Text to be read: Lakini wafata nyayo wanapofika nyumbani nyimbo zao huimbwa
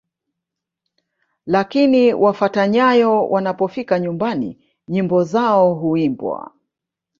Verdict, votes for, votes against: rejected, 1, 2